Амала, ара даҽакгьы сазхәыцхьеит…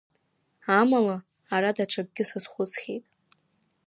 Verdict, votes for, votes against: accepted, 2, 0